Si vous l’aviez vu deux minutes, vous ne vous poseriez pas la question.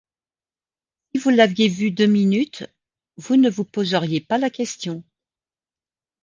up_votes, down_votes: 0, 2